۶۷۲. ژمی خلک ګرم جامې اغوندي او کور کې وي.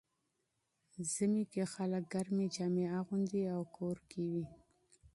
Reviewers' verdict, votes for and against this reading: rejected, 0, 2